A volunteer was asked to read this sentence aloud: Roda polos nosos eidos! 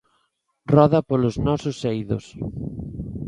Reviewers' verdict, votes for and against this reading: accepted, 2, 0